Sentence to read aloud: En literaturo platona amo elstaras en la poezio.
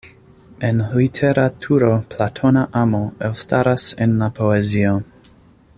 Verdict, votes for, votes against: accepted, 2, 0